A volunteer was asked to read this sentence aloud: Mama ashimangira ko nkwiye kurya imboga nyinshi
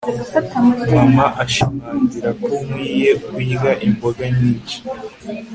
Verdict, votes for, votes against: accepted, 3, 0